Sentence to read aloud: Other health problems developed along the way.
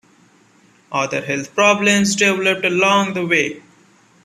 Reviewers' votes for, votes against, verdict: 2, 1, accepted